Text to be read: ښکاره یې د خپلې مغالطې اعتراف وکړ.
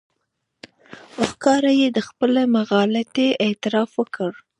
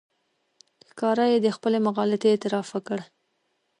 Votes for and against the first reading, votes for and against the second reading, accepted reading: 0, 2, 2, 1, second